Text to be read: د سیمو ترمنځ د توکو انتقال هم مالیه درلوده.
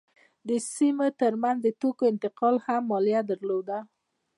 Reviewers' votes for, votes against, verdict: 1, 2, rejected